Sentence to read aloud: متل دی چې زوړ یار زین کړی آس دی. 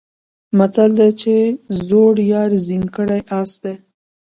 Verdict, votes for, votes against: rejected, 1, 2